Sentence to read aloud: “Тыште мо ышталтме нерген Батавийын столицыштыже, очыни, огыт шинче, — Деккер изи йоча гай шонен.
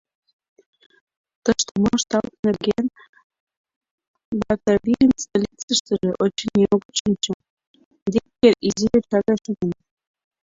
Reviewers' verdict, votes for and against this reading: rejected, 0, 2